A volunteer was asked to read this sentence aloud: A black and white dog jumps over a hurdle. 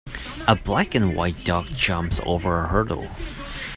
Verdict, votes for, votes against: accepted, 3, 0